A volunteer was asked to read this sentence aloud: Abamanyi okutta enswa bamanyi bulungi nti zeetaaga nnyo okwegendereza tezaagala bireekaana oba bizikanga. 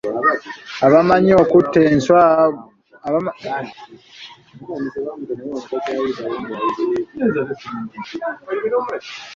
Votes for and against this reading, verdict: 0, 2, rejected